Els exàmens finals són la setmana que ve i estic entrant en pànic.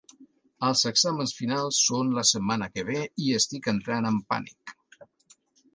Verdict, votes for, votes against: accepted, 3, 1